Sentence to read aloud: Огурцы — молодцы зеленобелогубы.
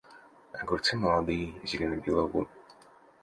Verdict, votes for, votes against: rejected, 0, 2